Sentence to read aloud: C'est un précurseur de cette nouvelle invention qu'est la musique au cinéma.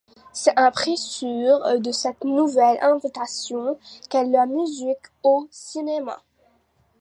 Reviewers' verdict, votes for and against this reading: rejected, 1, 2